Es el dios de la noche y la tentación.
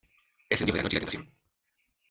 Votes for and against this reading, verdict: 0, 2, rejected